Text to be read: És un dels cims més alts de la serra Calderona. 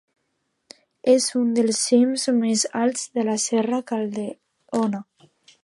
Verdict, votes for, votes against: rejected, 0, 2